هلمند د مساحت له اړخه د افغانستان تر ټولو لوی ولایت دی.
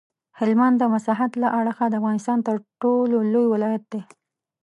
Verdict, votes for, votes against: accepted, 2, 1